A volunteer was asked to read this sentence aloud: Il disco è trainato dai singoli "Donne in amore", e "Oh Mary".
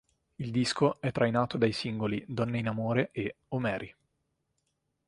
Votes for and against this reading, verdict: 2, 0, accepted